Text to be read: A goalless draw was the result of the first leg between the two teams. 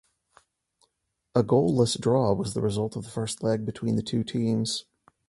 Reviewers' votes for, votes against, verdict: 2, 0, accepted